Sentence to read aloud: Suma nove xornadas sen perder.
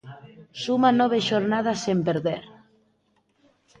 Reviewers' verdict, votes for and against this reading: accepted, 2, 0